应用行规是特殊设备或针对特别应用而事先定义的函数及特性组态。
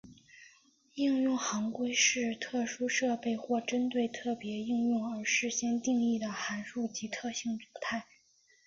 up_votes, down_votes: 1, 2